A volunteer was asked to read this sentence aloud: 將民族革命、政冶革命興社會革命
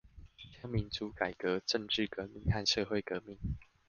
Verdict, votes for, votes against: rejected, 0, 2